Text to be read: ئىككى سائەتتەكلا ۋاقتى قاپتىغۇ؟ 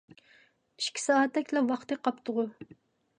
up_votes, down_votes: 2, 0